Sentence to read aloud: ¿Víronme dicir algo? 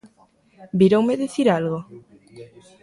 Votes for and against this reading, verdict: 1, 2, rejected